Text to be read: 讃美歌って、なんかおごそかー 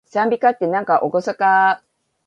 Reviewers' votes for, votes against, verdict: 1, 2, rejected